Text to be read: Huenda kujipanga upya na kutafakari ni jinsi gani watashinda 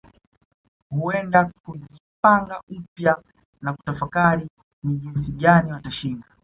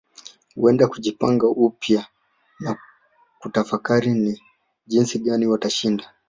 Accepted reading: first